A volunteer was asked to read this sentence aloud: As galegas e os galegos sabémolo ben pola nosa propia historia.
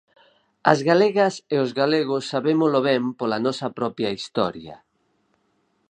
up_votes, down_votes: 4, 0